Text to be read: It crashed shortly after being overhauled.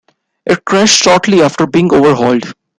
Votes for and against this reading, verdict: 2, 1, accepted